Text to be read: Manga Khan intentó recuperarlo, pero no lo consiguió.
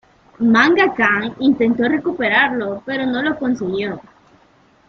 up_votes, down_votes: 2, 0